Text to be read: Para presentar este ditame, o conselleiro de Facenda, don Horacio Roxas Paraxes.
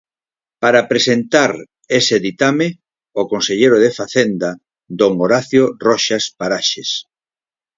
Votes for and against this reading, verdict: 2, 4, rejected